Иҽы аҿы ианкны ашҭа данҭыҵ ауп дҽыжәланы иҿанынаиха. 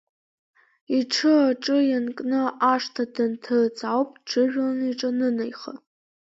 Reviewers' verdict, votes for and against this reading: rejected, 0, 2